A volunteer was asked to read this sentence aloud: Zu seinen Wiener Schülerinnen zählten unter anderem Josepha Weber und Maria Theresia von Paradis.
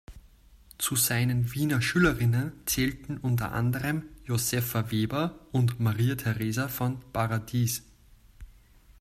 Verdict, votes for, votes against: rejected, 1, 2